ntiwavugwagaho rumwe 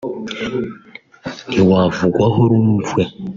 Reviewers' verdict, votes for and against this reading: rejected, 1, 2